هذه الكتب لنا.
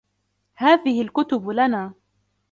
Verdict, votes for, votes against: accepted, 2, 0